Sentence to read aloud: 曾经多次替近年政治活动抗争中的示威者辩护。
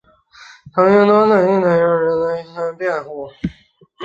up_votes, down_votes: 0, 3